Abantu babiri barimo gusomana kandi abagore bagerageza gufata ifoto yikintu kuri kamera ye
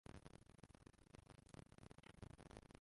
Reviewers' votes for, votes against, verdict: 0, 2, rejected